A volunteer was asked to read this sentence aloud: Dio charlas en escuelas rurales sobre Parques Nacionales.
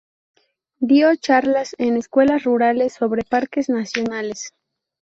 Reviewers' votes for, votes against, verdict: 2, 0, accepted